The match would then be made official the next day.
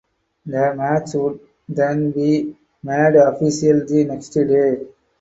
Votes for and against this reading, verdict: 2, 2, rejected